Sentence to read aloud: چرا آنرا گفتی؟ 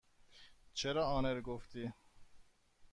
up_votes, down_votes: 1, 2